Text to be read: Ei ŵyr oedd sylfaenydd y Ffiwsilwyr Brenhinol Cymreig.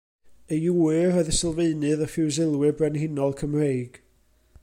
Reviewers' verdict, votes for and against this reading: accepted, 2, 0